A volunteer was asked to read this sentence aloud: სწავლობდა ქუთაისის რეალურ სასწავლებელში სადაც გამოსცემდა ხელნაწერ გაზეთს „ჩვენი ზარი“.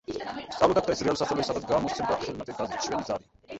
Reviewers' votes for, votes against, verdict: 0, 2, rejected